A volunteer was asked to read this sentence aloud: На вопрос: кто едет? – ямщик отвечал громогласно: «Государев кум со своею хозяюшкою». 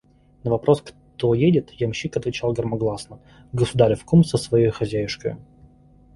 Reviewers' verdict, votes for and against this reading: accepted, 2, 1